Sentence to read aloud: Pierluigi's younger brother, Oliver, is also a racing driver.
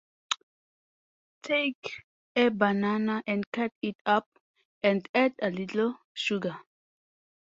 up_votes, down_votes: 0, 2